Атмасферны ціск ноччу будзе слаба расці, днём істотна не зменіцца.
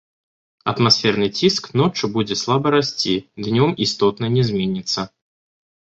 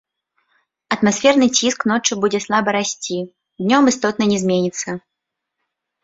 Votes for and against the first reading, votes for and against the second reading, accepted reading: 1, 2, 2, 0, second